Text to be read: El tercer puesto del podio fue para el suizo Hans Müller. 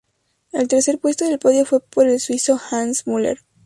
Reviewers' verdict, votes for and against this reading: accepted, 2, 0